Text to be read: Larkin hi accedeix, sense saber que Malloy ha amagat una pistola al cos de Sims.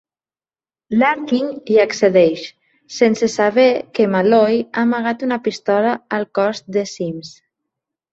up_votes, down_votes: 2, 0